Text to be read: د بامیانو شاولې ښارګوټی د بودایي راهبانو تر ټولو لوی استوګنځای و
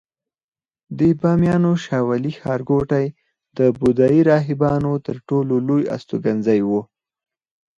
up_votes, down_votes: 4, 0